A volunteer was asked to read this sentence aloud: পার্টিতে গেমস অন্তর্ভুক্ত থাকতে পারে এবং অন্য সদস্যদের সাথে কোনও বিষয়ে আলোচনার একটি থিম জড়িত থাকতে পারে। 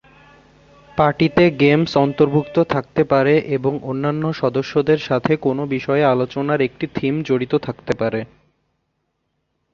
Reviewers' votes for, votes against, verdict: 2, 1, accepted